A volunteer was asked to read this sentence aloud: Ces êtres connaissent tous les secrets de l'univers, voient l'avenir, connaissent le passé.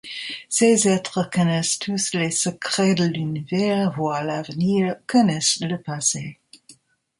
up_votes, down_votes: 0, 2